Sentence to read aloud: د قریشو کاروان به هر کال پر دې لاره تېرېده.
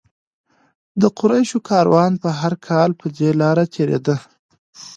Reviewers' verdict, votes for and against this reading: accepted, 2, 0